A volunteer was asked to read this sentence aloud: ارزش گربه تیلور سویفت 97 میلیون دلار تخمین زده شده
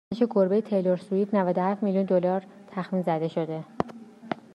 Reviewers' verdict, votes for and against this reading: rejected, 0, 2